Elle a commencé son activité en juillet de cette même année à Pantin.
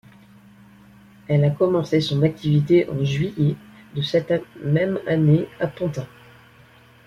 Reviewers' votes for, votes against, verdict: 2, 1, accepted